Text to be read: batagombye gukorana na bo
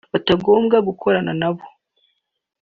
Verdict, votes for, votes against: rejected, 1, 2